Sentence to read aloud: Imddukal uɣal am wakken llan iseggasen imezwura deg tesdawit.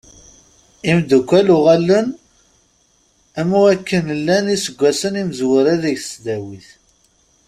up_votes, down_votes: 0, 2